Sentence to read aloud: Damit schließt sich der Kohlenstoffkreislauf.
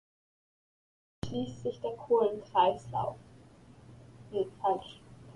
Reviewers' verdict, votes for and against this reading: rejected, 0, 2